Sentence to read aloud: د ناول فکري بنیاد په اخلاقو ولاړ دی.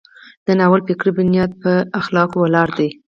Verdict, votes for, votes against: accepted, 4, 0